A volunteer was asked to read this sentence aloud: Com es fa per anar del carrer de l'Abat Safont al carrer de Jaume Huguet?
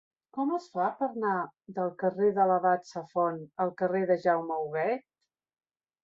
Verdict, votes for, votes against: rejected, 1, 2